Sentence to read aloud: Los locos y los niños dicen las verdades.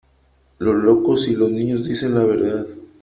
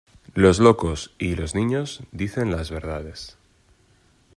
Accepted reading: second